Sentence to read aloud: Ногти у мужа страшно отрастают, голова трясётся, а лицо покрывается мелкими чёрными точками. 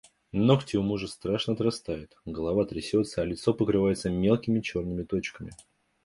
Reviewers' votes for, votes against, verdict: 2, 0, accepted